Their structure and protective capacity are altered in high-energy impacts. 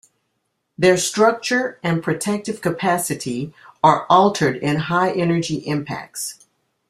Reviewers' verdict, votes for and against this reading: accepted, 2, 0